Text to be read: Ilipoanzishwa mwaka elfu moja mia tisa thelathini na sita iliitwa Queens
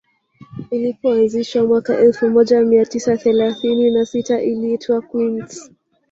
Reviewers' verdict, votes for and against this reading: accepted, 3, 1